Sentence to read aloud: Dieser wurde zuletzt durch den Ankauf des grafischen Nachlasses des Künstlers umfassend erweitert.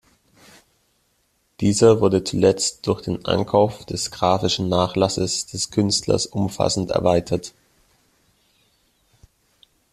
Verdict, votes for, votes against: accepted, 2, 0